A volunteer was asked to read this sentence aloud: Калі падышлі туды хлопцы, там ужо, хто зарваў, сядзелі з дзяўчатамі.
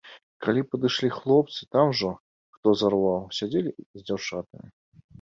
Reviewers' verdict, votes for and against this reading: rejected, 0, 2